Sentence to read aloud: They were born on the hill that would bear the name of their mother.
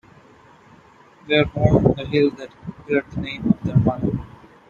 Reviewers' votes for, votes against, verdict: 0, 2, rejected